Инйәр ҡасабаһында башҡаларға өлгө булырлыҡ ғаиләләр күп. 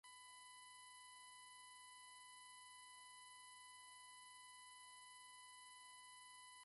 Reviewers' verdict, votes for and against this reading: rejected, 0, 2